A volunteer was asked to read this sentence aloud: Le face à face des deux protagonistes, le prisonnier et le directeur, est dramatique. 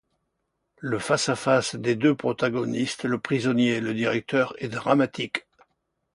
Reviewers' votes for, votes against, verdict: 2, 0, accepted